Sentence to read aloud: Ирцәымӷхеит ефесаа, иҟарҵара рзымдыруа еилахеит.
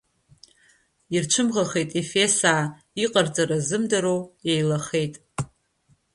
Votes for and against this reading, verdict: 2, 1, accepted